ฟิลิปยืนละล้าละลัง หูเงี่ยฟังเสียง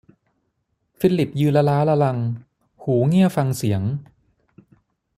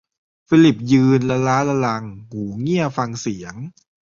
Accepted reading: first